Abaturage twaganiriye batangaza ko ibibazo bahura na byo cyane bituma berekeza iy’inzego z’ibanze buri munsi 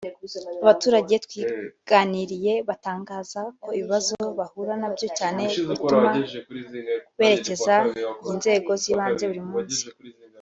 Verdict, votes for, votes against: rejected, 0, 2